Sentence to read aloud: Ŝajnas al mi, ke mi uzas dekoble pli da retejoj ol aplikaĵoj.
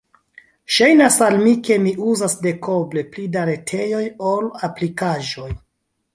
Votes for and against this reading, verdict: 1, 2, rejected